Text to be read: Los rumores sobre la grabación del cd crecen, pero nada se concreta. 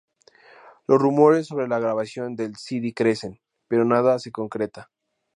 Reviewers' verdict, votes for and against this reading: accepted, 4, 0